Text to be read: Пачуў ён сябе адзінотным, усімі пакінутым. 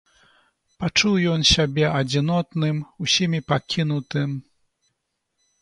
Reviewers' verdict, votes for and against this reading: accepted, 2, 0